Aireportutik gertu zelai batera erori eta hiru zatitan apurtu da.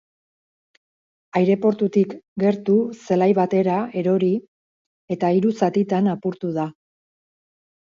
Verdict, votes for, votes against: accepted, 6, 0